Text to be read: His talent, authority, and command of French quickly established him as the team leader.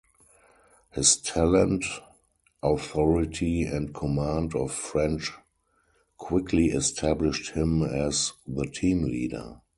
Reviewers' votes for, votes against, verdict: 2, 0, accepted